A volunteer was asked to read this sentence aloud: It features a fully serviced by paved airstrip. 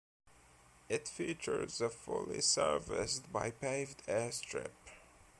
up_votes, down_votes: 2, 0